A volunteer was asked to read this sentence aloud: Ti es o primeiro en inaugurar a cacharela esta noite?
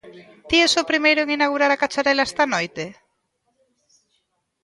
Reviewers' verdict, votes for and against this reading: rejected, 0, 2